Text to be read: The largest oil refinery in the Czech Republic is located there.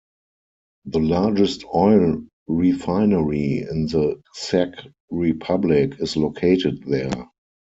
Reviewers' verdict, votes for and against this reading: accepted, 4, 0